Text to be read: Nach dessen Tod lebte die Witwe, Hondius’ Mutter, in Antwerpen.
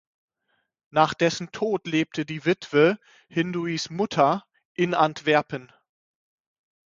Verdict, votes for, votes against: rejected, 3, 6